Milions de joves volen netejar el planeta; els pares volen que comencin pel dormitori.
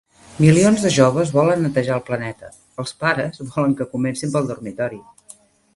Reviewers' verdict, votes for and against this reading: accepted, 2, 0